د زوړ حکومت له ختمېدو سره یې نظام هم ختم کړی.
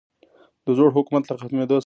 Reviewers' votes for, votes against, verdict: 1, 2, rejected